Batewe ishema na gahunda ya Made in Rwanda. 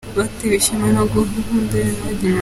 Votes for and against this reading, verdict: 0, 2, rejected